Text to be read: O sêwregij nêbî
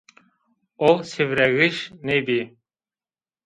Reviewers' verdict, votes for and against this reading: accepted, 2, 0